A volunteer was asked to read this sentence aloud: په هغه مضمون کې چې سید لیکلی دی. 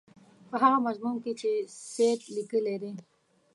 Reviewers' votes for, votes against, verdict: 2, 0, accepted